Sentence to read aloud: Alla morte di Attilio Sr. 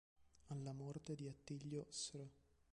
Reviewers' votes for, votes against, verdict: 0, 2, rejected